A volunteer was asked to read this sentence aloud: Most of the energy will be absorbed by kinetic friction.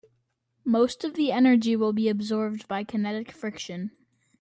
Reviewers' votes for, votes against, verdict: 2, 0, accepted